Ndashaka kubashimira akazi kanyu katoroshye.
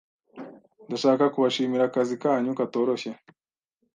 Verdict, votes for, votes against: accepted, 2, 0